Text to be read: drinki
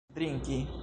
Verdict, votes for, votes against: rejected, 1, 2